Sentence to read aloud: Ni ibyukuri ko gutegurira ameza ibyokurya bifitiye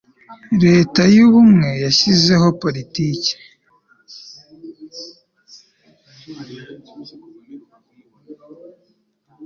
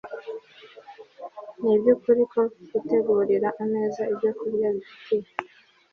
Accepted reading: second